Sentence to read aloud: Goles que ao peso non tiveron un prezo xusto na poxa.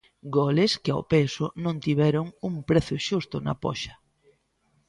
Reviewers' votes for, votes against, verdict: 1, 2, rejected